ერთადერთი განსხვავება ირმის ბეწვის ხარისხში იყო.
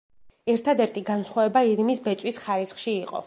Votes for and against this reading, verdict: 2, 0, accepted